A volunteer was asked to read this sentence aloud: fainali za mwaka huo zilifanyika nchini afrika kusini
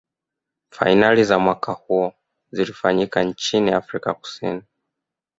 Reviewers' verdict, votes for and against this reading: accepted, 2, 0